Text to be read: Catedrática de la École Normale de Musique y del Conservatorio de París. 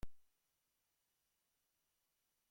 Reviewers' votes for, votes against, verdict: 0, 2, rejected